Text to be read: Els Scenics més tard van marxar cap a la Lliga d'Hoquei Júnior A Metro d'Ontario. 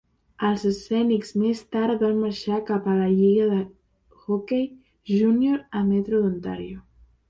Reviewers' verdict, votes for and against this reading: rejected, 0, 2